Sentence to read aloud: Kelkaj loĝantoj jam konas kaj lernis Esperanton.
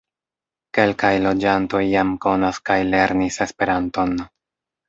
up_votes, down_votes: 3, 0